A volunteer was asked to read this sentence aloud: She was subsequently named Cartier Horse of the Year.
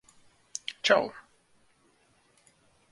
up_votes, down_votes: 0, 2